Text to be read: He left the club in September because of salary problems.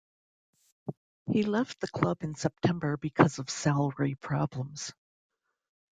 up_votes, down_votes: 2, 0